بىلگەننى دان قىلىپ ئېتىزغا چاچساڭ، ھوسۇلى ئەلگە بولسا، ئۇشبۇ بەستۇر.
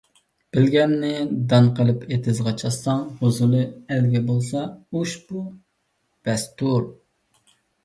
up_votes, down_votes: 2, 1